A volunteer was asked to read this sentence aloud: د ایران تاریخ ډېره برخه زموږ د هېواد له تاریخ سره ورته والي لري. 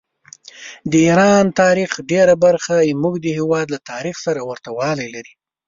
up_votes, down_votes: 1, 2